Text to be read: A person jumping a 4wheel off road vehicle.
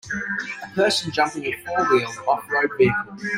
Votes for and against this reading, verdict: 0, 2, rejected